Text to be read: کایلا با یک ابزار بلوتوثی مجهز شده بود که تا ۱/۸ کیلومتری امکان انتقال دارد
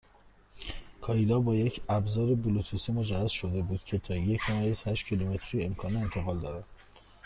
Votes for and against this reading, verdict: 0, 2, rejected